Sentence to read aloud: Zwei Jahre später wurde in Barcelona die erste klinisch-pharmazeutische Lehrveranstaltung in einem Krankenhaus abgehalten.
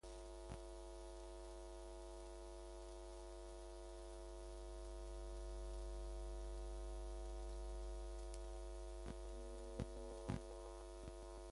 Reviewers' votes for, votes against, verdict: 0, 2, rejected